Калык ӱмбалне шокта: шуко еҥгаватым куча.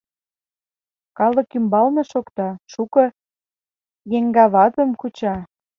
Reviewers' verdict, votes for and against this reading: accepted, 2, 0